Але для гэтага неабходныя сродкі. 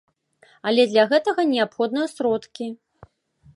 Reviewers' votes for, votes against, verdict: 2, 1, accepted